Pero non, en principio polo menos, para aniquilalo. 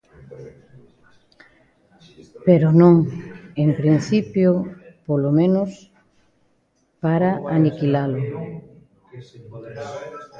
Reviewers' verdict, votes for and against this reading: rejected, 1, 2